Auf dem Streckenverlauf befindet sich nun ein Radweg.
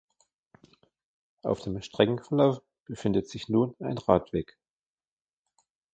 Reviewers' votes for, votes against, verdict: 2, 0, accepted